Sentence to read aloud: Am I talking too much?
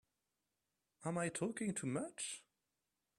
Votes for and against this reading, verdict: 2, 0, accepted